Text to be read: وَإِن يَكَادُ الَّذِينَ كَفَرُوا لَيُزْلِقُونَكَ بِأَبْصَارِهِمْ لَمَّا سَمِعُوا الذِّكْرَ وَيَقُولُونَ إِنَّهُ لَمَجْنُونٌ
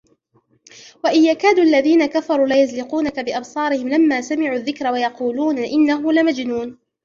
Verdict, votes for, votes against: rejected, 1, 2